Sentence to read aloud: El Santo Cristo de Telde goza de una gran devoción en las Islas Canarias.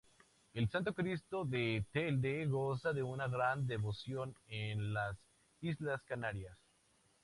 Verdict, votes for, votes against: rejected, 0, 2